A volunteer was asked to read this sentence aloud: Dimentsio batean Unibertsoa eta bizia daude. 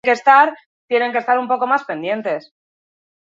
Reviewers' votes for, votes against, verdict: 0, 4, rejected